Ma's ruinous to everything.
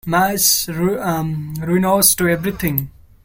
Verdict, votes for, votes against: rejected, 1, 3